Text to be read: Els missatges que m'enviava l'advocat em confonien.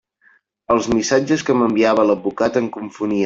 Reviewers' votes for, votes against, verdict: 1, 2, rejected